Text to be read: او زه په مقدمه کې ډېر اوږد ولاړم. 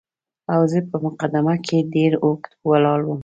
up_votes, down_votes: 2, 1